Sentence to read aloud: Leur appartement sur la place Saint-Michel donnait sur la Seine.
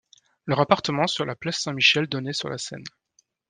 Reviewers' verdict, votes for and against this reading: accepted, 2, 0